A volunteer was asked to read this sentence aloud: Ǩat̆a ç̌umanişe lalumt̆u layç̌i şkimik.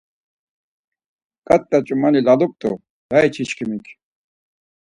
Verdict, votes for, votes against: rejected, 2, 4